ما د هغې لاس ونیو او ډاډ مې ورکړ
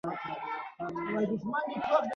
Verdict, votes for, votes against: rejected, 1, 2